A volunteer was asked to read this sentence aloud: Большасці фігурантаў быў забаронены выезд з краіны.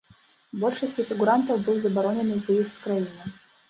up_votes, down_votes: 1, 2